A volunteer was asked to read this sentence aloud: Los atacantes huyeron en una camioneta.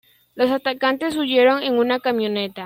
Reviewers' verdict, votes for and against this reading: accepted, 2, 0